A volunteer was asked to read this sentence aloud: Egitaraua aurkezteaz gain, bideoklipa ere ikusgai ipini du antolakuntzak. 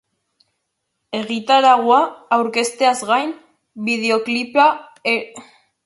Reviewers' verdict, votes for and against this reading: rejected, 0, 2